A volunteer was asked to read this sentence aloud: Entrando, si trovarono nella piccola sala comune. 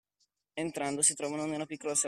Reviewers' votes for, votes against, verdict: 0, 2, rejected